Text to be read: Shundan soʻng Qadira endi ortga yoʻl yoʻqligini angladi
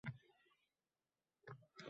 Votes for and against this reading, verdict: 0, 2, rejected